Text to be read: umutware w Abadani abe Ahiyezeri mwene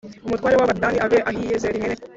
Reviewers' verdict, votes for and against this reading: rejected, 1, 2